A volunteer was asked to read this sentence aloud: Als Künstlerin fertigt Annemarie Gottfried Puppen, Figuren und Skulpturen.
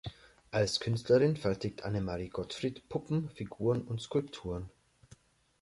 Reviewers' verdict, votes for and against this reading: accepted, 2, 0